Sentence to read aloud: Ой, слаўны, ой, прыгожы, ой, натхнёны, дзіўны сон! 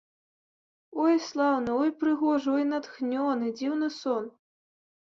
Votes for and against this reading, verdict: 2, 0, accepted